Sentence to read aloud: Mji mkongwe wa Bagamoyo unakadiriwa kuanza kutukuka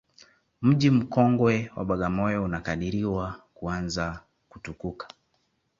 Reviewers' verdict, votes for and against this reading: accepted, 2, 0